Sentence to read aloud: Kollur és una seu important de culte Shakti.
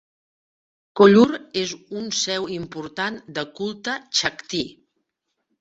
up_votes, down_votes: 1, 2